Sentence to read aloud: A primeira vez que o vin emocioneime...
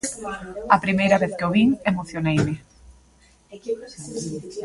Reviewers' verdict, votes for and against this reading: rejected, 1, 2